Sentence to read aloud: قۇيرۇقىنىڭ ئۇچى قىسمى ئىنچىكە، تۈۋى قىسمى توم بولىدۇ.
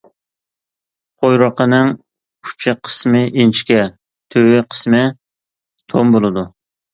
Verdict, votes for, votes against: accepted, 2, 1